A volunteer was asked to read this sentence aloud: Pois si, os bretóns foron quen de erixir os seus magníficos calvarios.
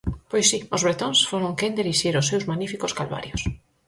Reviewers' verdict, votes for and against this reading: accepted, 4, 0